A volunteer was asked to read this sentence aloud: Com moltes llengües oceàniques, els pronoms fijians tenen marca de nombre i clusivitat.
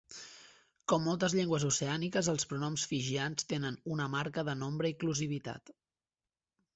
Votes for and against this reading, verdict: 0, 2, rejected